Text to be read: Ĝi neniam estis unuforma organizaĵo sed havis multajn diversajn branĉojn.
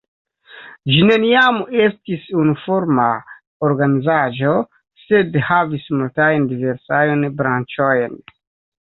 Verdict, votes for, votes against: rejected, 1, 2